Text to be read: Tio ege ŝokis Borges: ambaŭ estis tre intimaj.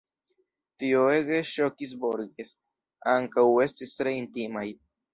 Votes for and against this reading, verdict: 1, 2, rejected